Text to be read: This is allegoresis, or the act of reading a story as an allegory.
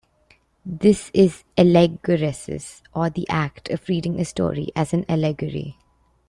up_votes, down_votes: 1, 2